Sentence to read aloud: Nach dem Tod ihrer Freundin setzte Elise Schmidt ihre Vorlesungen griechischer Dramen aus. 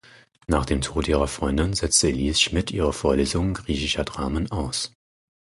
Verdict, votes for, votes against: rejected, 0, 4